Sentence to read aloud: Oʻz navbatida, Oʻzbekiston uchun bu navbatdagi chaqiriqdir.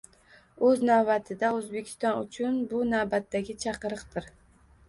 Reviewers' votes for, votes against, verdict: 1, 2, rejected